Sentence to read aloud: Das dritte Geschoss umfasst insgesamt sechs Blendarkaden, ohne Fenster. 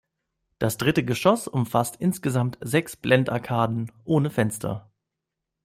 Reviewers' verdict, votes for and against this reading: accepted, 2, 0